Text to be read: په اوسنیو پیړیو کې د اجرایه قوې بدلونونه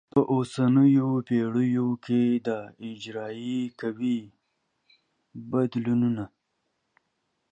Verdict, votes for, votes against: rejected, 1, 2